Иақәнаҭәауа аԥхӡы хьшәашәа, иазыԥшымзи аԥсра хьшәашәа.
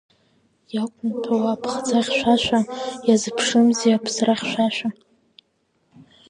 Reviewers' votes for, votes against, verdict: 2, 0, accepted